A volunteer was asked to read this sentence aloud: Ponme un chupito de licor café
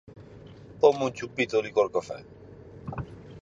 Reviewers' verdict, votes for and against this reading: accepted, 4, 0